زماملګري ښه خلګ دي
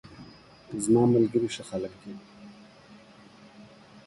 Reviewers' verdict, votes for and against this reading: accepted, 2, 0